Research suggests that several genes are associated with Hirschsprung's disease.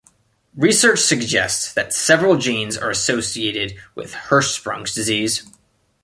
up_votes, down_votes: 2, 0